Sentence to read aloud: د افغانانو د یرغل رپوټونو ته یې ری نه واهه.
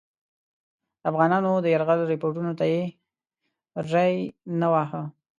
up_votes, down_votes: 0, 2